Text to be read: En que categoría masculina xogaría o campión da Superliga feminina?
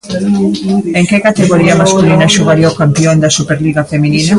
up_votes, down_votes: 2, 0